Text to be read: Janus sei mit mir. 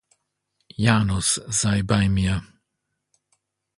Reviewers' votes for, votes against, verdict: 0, 2, rejected